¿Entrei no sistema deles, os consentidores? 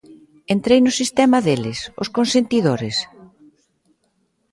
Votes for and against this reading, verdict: 2, 0, accepted